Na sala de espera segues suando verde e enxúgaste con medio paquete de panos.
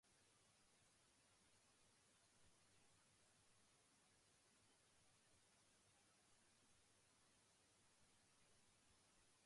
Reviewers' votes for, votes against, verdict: 0, 2, rejected